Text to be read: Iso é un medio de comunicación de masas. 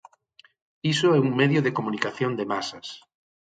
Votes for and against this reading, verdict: 6, 0, accepted